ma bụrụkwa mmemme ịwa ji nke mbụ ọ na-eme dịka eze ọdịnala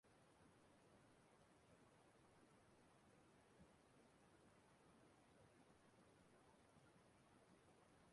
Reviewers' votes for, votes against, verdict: 0, 2, rejected